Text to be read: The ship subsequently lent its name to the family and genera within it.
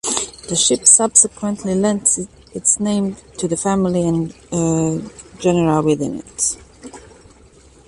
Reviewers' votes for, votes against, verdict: 0, 2, rejected